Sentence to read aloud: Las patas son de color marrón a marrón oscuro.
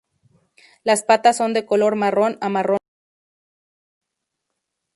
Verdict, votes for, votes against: rejected, 0, 2